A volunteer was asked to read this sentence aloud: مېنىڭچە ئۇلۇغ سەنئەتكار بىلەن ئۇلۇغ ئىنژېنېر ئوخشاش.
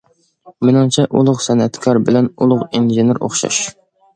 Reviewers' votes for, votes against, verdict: 2, 0, accepted